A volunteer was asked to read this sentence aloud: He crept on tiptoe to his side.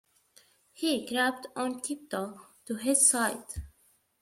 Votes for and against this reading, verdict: 2, 0, accepted